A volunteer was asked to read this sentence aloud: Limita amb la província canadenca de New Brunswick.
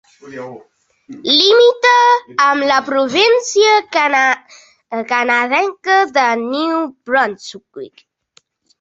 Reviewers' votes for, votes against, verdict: 3, 1, accepted